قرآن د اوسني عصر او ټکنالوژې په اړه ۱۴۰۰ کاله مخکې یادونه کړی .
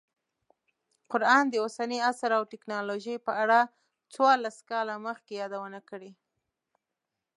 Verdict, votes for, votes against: rejected, 0, 2